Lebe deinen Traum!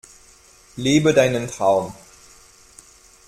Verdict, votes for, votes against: accepted, 2, 0